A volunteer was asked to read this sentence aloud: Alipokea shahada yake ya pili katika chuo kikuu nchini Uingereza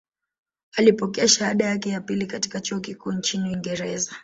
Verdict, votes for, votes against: accepted, 3, 0